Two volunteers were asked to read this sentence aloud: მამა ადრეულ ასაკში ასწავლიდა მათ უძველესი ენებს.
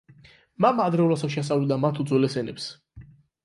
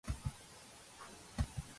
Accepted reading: first